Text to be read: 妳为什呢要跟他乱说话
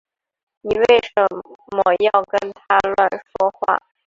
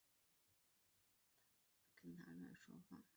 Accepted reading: first